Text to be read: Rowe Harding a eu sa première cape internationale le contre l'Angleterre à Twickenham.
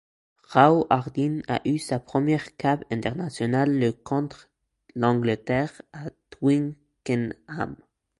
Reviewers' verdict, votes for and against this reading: rejected, 0, 2